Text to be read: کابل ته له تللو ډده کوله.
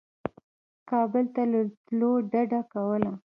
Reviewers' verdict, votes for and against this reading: rejected, 1, 2